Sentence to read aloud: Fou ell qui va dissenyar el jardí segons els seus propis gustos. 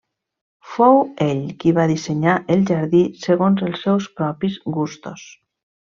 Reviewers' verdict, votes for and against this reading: accepted, 3, 0